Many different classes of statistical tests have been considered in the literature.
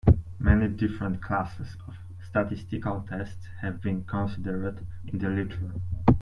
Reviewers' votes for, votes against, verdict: 0, 2, rejected